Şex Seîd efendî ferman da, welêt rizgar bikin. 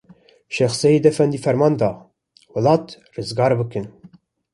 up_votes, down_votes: 2, 0